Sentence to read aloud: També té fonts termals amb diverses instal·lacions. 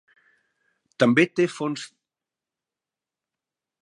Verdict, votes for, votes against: rejected, 1, 2